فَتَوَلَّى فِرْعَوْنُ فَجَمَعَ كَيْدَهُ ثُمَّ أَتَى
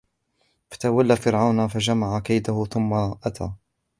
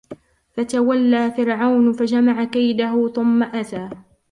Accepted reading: second